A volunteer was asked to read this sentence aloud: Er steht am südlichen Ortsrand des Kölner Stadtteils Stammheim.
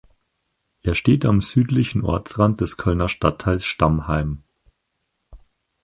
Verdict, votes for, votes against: accepted, 4, 0